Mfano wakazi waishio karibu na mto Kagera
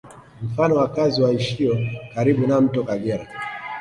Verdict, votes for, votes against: rejected, 0, 2